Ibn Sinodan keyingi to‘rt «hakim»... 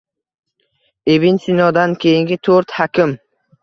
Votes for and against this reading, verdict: 2, 0, accepted